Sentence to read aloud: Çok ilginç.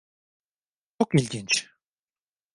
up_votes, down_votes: 0, 2